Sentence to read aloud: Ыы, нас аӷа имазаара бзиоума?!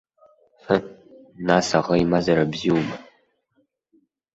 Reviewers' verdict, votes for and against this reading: rejected, 1, 2